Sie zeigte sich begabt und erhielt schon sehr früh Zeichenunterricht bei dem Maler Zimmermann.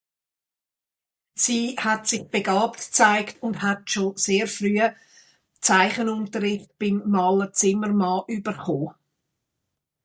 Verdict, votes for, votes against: rejected, 0, 2